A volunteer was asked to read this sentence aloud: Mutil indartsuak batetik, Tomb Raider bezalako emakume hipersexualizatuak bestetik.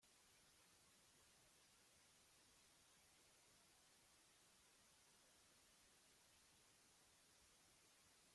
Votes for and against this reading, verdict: 0, 2, rejected